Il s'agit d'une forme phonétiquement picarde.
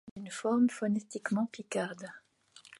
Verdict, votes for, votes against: rejected, 0, 2